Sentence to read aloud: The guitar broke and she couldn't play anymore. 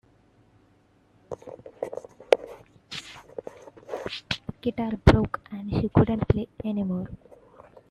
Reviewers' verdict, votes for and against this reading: accepted, 2, 1